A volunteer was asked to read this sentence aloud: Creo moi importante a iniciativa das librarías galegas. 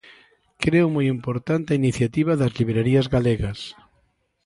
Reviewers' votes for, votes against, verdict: 2, 1, accepted